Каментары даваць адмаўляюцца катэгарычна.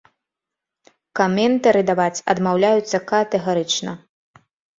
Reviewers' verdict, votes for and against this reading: rejected, 1, 2